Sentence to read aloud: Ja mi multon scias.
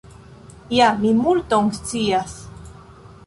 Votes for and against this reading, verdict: 2, 1, accepted